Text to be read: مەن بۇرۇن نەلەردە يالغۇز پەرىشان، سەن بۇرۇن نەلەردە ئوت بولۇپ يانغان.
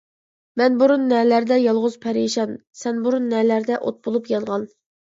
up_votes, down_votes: 2, 0